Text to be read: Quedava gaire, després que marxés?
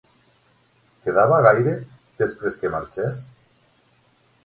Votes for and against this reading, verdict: 3, 6, rejected